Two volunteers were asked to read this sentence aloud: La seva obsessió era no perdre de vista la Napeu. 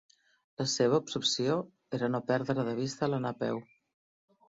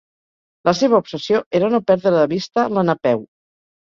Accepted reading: second